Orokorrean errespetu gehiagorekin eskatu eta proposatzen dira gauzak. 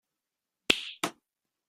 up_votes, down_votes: 0, 2